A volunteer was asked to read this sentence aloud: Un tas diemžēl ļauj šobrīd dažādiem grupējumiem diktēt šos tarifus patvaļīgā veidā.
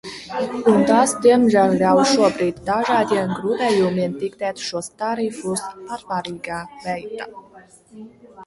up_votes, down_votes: 0, 2